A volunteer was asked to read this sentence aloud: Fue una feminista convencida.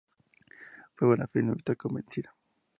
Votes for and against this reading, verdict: 2, 0, accepted